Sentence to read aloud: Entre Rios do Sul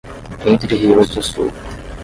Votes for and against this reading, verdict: 5, 10, rejected